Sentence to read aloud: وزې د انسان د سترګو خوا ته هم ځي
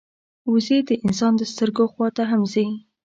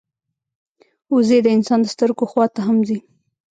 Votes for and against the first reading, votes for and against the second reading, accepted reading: 2, 0, 0, 2, first